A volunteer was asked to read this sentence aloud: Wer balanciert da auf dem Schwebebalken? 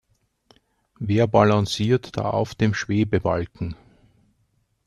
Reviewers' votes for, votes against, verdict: 2, 0, accepted